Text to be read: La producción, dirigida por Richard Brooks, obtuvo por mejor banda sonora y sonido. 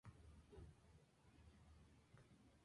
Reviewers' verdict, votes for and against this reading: rejected, 0, 2